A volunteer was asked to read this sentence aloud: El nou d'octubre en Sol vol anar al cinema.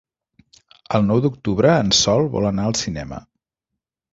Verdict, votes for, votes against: accepted, 3, 0